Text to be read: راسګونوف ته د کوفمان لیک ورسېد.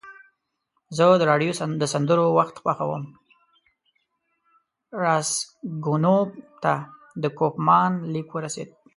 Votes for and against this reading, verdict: 0, 2, rejected